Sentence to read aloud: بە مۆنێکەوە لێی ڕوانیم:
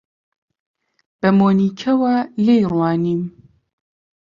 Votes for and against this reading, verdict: 0, 2, rejected